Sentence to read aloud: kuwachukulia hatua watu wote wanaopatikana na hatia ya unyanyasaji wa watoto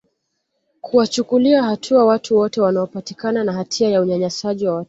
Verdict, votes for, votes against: accepted, 2, 0